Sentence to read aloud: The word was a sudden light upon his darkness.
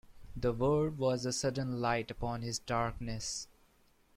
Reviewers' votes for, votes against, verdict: 2, 0, accepted